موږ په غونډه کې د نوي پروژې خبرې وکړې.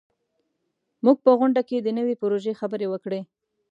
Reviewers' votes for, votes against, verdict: 2, 0, accepted